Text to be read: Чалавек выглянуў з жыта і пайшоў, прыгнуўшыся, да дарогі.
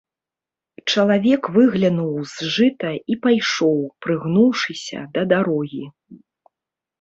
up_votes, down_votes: 1, 2